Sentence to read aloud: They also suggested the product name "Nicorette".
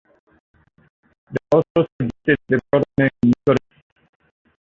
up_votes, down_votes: 0, 2